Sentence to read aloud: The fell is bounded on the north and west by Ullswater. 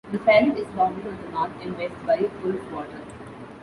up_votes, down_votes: 1, 2